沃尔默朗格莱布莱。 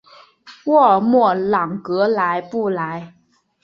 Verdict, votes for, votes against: accepted, 2, 1